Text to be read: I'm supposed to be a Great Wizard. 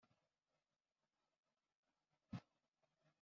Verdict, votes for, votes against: rejected, 0, 2